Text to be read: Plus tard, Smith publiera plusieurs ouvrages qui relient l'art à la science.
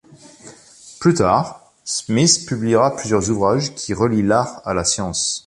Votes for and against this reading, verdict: 2, 0, accepted